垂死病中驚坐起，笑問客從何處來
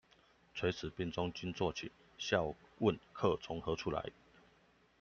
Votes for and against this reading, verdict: 2, 0, accepted